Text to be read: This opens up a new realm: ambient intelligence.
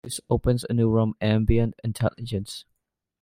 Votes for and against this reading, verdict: 1, 2, rejected